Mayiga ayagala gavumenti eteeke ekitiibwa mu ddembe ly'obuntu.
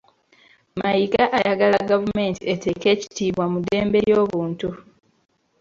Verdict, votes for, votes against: rejected, 1, 3